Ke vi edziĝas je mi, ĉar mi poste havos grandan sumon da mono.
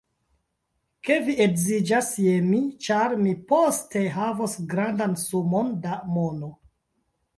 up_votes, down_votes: 2, 1